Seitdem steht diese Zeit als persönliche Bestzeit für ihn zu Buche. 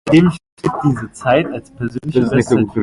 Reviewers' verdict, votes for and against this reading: rejected, 0, 2